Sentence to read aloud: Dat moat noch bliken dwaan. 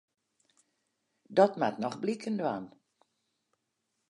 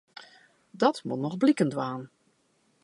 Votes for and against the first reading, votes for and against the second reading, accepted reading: 2, 0, 1, 2, first